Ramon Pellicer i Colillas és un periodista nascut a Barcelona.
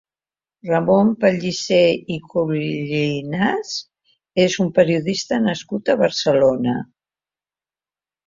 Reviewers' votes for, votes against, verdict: 0, 2, rejected